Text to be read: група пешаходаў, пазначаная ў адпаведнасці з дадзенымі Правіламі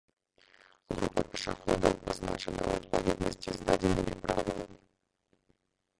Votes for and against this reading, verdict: 0, 2, rejected